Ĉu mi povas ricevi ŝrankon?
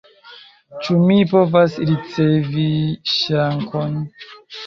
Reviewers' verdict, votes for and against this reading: rejected, 1, 2